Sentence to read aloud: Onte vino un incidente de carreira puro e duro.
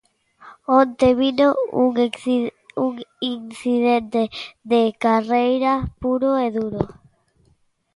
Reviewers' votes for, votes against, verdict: 0, 2, rejected